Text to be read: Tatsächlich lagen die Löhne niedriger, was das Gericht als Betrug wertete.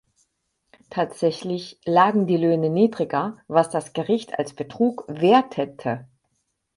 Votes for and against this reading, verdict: 4, 0, accepted